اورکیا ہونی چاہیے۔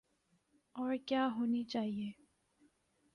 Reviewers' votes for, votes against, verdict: 2, 0, accepted